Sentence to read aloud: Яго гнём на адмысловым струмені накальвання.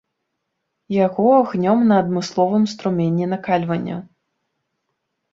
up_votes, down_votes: 3, 1